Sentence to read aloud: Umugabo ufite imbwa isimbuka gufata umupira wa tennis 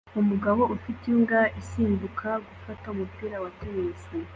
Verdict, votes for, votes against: accepted, 2, 0